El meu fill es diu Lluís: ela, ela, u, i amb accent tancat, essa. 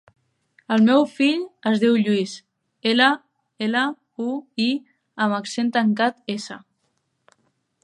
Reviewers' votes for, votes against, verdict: 3, 0, accepted